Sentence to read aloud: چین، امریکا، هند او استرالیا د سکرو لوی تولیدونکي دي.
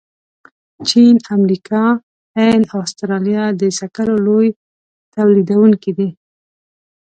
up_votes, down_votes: 2, 0